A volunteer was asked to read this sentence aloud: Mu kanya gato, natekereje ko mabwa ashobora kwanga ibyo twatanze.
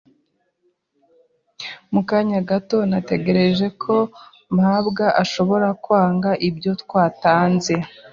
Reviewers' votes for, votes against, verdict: 1, 2, rejected